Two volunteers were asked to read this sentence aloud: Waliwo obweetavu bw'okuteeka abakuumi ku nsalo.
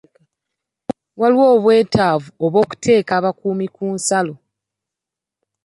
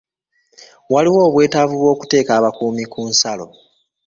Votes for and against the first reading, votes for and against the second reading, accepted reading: 2, 3, 2, 0, second